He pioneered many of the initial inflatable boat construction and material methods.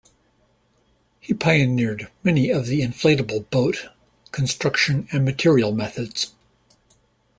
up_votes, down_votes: 0, 2